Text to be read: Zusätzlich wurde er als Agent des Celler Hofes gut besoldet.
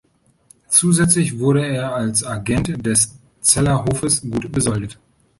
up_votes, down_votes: 1, 2